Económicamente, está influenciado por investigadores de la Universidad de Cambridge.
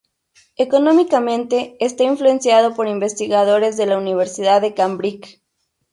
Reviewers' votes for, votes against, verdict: 2, 0, accepted